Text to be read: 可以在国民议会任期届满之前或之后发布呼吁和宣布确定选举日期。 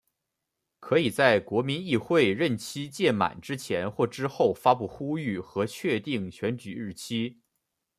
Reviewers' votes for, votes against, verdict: 0, 2, rejected